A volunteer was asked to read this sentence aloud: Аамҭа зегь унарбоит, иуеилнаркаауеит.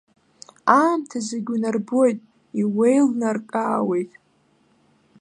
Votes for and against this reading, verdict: 2, 1, accepted